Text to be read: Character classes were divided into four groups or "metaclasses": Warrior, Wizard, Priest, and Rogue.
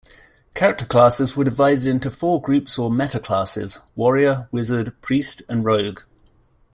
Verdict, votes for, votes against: accepted, 2, 0